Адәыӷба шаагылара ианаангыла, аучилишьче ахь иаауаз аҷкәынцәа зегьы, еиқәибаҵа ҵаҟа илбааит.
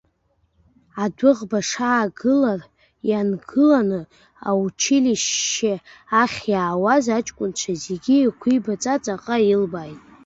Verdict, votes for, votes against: rejected, 0, 2